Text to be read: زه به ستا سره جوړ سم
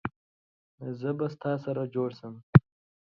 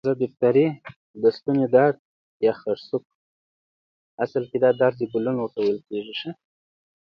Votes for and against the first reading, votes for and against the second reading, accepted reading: 2, 0, 0, 2, first